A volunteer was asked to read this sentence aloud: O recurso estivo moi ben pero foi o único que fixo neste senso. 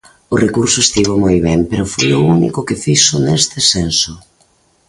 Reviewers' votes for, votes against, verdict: 2, 0, accepted